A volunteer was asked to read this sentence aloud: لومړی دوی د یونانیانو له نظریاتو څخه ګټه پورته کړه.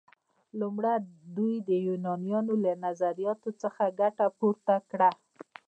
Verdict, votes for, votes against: rejected, 1, 2